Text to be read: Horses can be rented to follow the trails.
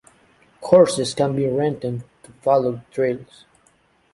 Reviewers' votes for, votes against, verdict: 2, 0, accepted